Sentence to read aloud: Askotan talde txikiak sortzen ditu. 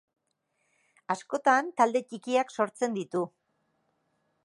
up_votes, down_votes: 3, 0